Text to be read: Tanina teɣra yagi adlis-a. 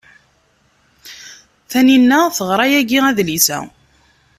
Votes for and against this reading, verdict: 2, 0, accepted